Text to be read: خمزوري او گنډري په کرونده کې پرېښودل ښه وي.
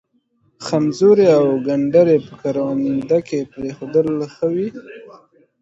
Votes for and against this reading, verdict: 2, 0, accepted